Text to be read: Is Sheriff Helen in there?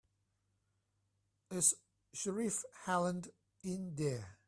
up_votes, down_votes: 0, 2